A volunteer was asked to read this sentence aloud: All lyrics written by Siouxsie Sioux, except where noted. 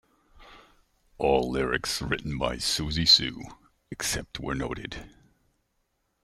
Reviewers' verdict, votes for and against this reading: rejected, 1, 2